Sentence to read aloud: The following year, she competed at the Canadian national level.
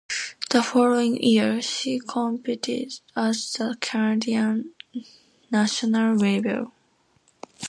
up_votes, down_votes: 2, 0